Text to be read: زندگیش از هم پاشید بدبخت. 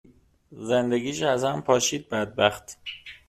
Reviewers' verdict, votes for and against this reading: accepted, 2, 1